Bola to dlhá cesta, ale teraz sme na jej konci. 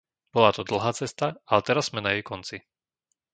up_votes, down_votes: 0, 2